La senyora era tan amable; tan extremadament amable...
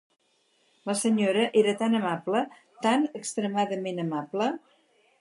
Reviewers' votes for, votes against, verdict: 4, 0, accepted